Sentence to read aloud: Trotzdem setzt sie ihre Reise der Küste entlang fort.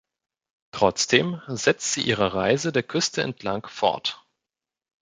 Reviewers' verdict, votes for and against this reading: accepted, 2, 0